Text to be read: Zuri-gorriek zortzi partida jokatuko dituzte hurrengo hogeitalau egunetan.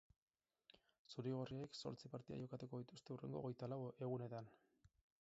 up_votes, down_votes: 4, 6